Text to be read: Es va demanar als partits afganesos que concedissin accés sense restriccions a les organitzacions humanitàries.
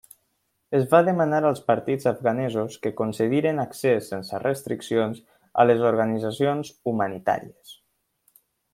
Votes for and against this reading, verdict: 1, 2, rejected